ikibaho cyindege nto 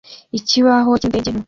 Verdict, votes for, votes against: rejected, 1, 3